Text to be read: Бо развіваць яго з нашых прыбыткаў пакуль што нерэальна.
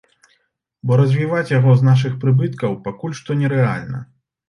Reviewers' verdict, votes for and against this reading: accepted, 2, 0